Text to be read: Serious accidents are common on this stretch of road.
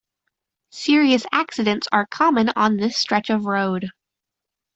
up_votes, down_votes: 2, 0